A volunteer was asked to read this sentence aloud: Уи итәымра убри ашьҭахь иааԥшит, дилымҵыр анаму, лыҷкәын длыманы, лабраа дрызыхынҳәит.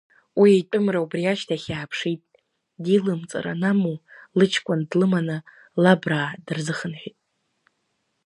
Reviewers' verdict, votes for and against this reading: accepted, 2, 0